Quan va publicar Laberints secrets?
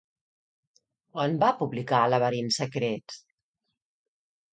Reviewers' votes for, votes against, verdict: 2, 0, accepted